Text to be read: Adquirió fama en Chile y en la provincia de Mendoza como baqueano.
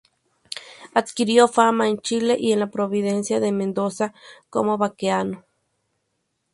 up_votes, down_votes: 2, 0